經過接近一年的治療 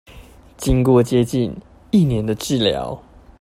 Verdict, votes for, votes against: accepted, 2, 0